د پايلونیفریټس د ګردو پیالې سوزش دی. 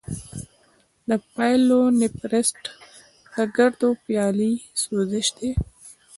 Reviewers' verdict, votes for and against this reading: accepted, 2, 0